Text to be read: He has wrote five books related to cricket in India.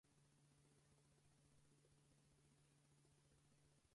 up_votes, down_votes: 0, 2